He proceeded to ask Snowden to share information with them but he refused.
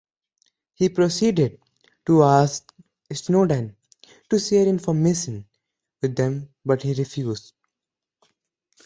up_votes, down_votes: 0, 2